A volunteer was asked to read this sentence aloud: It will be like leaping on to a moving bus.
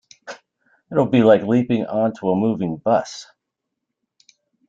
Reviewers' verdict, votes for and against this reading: rejected, 1, 2